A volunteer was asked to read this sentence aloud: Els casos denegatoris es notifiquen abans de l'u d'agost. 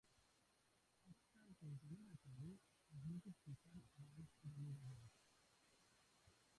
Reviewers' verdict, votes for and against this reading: rejected, 0, 3